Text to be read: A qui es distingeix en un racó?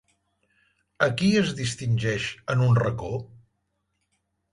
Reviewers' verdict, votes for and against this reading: accepted, 4, 0